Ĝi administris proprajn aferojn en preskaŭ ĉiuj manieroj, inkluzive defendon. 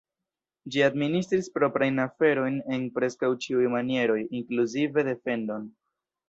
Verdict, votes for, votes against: accepted, 2, 1